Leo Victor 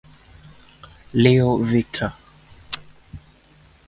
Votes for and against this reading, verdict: 4, 0, accepted